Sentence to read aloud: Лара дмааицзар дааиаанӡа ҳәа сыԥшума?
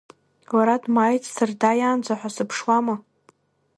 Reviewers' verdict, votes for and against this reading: rejected, 1, 2